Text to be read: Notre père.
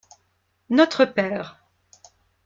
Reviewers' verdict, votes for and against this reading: accepted, 2, 0